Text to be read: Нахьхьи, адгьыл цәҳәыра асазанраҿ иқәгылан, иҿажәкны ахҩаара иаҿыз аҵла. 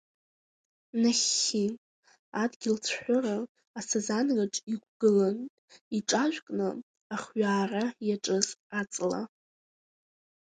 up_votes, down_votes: 2, 0